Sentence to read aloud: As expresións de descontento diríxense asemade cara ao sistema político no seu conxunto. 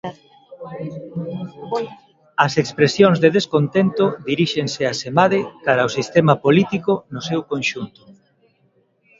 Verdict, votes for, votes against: accepted, 2, 0